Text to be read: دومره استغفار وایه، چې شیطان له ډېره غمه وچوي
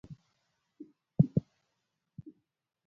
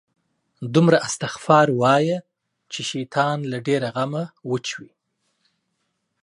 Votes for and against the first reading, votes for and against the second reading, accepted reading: 0, 2, 2, 0, second